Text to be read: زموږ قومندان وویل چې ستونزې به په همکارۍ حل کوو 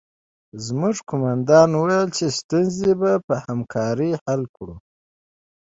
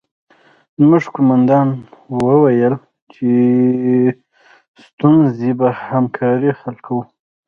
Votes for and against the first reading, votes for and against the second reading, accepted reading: 2, 0, 0, 2, first